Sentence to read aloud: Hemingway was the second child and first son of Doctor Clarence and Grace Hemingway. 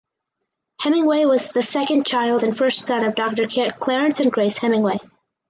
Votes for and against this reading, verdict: 0, 4, rejected